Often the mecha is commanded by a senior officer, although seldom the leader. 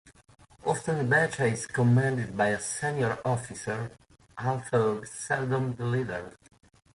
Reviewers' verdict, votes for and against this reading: rejected, 0, 2